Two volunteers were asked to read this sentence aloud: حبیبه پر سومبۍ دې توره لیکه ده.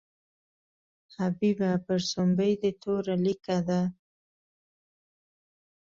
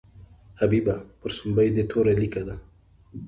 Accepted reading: second